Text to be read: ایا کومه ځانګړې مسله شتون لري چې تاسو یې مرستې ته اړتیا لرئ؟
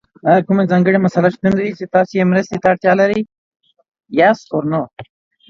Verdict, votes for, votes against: accepted, 2, 0